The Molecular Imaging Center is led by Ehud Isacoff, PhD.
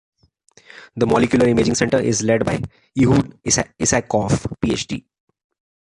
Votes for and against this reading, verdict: 1, 2, rejected